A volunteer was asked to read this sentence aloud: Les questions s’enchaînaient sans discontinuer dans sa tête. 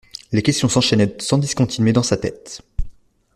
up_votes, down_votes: 1, 2